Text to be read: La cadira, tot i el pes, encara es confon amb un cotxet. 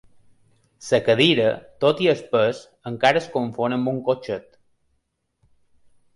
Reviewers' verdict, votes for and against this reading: rejected, 0, 2